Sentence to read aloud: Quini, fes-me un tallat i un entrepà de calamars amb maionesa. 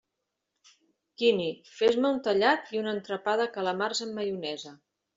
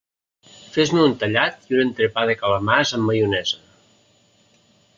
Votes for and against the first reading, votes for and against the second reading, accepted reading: 2, 0, 0, 2, first